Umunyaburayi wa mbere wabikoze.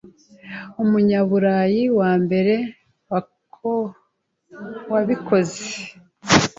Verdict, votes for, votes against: rejected, 0, 2